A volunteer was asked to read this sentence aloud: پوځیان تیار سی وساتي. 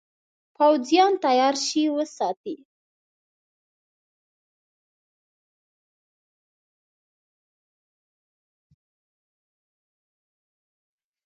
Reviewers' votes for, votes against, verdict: 0, 2, rejected